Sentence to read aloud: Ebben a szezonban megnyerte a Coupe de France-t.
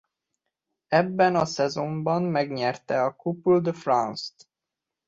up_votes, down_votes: 0, 2